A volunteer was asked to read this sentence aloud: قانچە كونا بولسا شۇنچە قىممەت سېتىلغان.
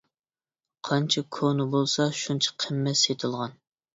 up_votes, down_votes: 0, 2